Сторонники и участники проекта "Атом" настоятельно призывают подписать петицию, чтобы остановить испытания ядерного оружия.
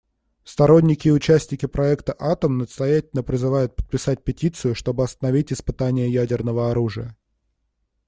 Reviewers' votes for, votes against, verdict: 1, 2, rejected